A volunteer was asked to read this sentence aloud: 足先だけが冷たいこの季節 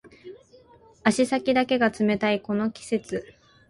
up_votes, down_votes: 6, 0